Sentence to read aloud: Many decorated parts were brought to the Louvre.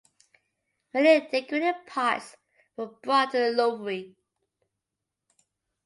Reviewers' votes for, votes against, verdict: 1, 2, rejected